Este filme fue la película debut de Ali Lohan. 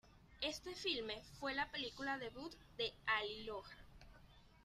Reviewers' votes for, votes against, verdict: 2, 0, accepted